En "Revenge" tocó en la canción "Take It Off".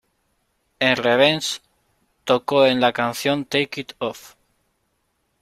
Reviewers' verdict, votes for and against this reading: rejected, 1, 2